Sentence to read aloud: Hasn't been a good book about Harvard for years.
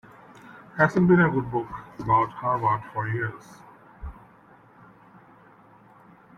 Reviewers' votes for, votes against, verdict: 2, 1, accepted